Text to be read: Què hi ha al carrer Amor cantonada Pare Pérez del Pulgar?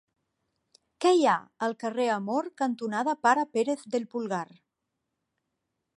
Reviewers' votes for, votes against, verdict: 2, 0, accepted